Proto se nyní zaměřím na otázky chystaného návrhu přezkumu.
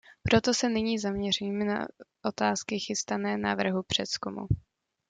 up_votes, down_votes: 0, 2